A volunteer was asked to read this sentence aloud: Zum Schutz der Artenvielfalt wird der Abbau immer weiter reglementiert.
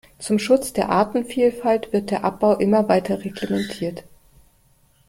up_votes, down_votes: 2, 0